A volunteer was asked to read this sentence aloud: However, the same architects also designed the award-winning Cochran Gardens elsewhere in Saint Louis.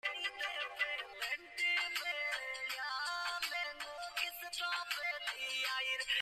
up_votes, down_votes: 0, 2